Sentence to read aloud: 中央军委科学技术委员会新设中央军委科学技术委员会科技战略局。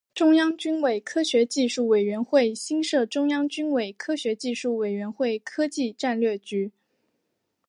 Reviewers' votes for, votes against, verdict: 3, 0, accepted